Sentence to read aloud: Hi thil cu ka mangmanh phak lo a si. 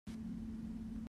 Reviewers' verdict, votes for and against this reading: rejected, 0, 2